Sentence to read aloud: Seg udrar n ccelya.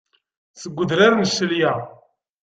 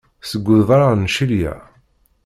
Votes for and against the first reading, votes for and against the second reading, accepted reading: 2, 0, 0, 2, first